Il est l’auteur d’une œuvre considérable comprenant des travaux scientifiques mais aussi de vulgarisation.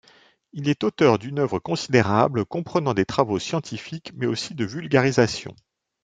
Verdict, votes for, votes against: rejected, 1, 2